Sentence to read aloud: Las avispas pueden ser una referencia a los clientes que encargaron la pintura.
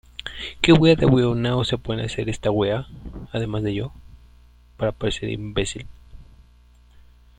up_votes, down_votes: 0, 2